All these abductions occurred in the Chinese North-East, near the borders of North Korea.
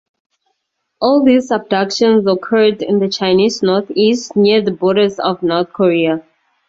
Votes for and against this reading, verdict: 2, 0, accepted